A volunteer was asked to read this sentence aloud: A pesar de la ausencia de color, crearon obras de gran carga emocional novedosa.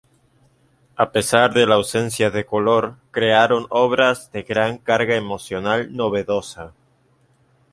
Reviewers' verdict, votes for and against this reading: accepted, 2, 0